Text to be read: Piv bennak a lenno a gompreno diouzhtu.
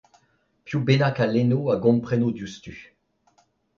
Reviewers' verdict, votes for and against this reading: accepted, 2, 0